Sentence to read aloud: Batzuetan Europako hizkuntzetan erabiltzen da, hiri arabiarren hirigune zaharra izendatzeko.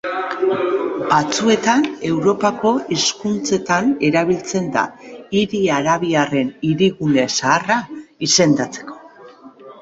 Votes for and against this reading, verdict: 2, 0, accepted